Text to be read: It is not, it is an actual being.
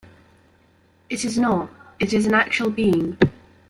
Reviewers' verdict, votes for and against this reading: accepted, 2, 1